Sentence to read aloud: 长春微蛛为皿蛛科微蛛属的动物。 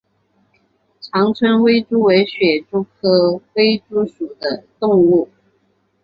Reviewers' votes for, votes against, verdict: 2, 0, accepted